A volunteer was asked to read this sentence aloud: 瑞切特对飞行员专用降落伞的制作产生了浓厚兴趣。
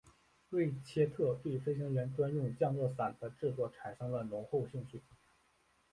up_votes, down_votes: 2, 0